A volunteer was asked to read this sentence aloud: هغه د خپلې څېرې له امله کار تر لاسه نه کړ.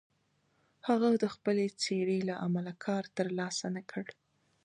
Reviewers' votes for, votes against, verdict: 2, 0, accepted